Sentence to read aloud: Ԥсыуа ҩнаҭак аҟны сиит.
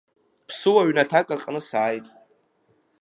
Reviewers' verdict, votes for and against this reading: rejected, 0, 2